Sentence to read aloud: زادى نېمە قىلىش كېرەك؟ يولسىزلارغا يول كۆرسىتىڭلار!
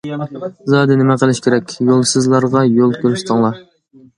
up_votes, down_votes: 2, 0